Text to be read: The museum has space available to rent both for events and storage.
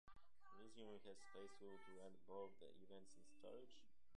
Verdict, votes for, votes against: rejected, 0, 2